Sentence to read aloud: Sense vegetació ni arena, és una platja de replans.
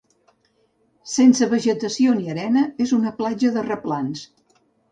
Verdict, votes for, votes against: accepted, 4, 0